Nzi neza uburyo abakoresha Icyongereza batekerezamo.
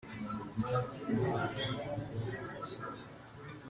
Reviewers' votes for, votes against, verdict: 0, 2, rejected